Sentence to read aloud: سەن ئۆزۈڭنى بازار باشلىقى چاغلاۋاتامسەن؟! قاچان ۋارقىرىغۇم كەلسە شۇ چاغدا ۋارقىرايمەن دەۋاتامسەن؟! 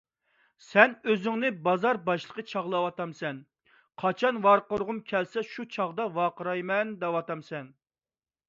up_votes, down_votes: 2, 0